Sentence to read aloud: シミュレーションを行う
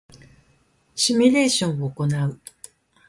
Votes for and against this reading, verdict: 2, 0, accepted